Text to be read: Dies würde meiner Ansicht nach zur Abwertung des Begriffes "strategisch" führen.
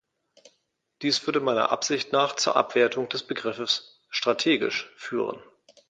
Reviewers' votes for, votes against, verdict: 1, 2, rejected